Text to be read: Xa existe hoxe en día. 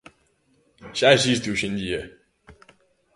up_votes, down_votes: 2, 0